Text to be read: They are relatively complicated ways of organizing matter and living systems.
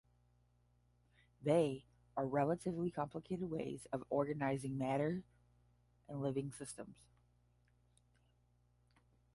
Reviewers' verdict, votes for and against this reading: accepted, 5, 0